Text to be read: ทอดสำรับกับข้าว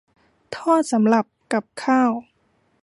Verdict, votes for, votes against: rejected, 1, 2